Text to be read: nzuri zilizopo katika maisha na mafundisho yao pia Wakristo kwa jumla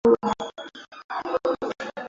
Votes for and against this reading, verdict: 0, 2, rejected